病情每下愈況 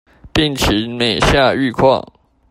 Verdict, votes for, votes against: accepted, 2, 0